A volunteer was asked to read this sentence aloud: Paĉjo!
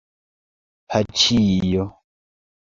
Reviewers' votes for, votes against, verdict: 0, 2, rejected